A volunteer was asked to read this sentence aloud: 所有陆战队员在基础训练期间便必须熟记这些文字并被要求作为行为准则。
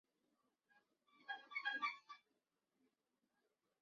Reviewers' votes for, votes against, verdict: 1, 2, rejected